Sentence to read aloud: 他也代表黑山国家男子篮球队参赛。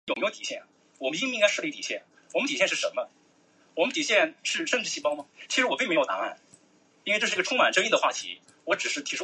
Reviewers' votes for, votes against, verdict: 1, 2, rejected